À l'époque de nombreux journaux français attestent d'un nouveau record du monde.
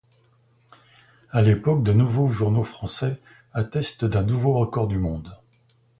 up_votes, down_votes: 2, 1